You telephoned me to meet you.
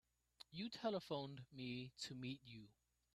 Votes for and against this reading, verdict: 1, 2, rejected